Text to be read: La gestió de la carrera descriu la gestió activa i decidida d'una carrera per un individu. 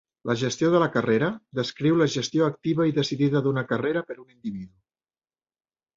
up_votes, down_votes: 1, 2